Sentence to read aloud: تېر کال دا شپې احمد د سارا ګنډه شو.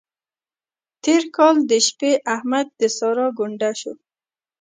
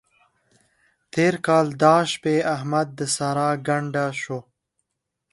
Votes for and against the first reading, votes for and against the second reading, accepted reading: 0, 2, 9, 0, second